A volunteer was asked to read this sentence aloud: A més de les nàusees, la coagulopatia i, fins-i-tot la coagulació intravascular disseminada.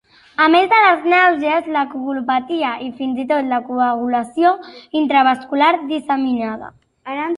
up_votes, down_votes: 2, 0